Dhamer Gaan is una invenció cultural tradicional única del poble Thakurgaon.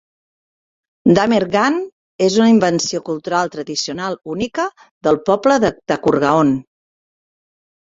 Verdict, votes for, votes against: rejected, 0, 2